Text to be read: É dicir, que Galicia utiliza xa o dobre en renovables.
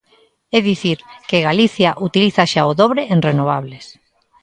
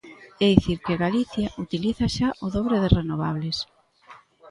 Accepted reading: first